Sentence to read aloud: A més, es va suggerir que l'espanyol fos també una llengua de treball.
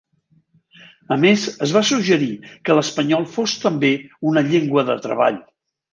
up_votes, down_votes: 1, 2